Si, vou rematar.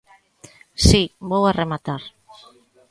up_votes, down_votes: 0, 2